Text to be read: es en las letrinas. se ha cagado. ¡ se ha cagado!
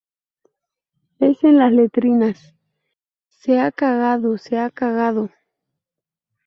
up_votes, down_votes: 4, 0